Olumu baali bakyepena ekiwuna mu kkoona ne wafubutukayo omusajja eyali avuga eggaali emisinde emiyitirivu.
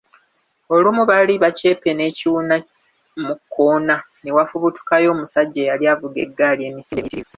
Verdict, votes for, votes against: rejected, 0, 2